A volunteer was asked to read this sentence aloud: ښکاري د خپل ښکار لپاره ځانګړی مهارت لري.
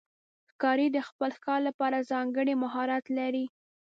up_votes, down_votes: 2, 0